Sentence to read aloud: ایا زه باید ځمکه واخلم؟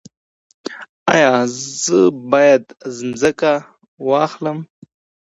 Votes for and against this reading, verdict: 2, 0, accepted